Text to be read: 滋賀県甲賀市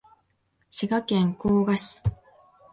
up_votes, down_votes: 2, 0